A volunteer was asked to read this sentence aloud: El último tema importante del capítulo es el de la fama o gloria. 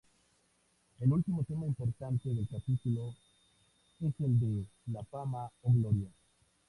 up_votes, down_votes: 0, 2